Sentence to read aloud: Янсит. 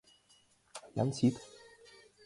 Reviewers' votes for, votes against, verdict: 2, 1, accepted